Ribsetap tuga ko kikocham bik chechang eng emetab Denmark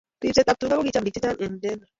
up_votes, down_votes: 0, 2